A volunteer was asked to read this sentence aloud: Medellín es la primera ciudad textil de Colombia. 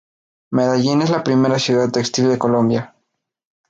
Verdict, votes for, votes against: accepted, 4, 2